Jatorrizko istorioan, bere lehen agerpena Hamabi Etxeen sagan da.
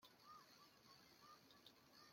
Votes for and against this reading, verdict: 0, 2, rejected